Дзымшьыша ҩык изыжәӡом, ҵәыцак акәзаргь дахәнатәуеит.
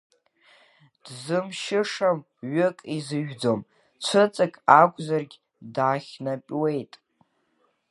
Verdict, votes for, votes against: rejected, 0, 2